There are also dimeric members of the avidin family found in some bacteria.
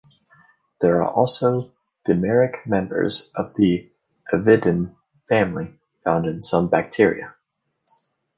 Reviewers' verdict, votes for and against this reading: accepted, 2, 0